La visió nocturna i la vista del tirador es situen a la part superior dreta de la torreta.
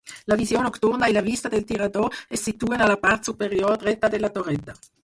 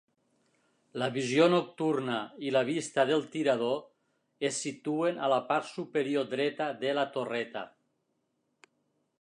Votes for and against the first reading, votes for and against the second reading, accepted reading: 2, 4, 3, 0, second